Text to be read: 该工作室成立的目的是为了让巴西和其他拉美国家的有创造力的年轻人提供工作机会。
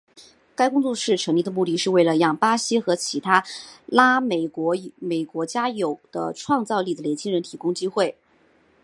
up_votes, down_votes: 3, 0